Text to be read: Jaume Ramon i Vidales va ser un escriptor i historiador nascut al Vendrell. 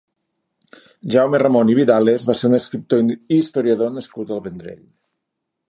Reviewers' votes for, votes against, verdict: 1, 2, rejected